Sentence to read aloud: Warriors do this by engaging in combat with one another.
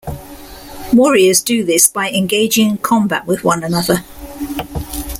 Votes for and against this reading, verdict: 2, 0, accepted